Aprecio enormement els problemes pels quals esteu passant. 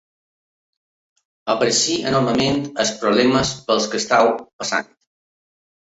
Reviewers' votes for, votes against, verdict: 0, 3, rejected